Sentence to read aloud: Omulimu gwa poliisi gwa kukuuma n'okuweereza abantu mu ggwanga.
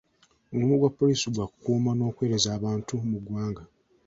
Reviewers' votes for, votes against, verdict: 1, 2, rejected